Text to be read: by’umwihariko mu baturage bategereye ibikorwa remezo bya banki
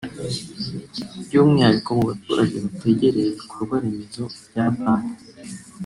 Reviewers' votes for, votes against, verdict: 1, 2, rejected